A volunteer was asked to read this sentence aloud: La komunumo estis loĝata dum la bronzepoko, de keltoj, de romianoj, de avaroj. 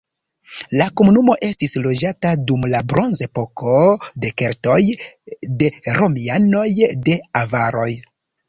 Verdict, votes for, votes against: rejected, 0, 2